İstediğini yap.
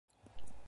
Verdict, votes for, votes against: rejected, 0, 2